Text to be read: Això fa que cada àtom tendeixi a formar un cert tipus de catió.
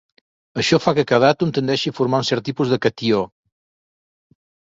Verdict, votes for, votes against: accepted, 3, 0